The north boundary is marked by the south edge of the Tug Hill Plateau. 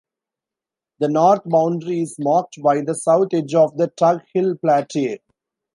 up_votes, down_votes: 0, 2